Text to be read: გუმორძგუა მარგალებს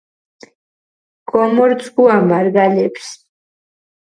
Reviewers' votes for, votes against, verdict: 0, 4, rejected